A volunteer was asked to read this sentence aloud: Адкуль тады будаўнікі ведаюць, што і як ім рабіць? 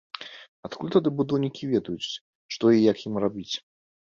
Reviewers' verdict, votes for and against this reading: accepted, 2, 0